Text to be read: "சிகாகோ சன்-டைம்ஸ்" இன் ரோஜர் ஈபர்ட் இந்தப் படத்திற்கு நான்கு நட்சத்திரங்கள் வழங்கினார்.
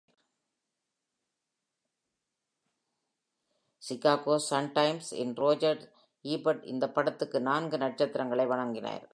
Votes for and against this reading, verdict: 0, 2, rejected